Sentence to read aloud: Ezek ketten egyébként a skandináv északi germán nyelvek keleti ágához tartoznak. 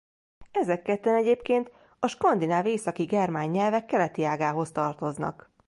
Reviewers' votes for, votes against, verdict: 1, 2, rejected